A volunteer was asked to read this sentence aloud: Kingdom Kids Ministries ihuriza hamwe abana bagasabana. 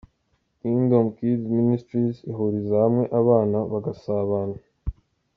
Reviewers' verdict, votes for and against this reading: accepted, 2, 0